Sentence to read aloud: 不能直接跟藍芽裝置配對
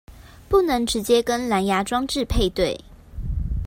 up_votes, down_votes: 2, 0